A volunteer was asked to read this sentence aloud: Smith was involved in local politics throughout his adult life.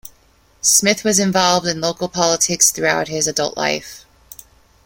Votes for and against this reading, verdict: 2, 0, accepted